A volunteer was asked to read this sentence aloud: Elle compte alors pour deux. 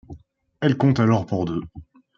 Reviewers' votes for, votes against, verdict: 2, 0, accepted